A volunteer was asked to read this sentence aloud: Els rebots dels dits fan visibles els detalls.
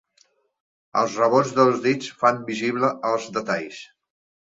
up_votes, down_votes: 0, 2